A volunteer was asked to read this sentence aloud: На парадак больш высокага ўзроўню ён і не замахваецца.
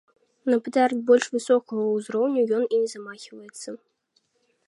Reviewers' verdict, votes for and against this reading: rejected, 1, 2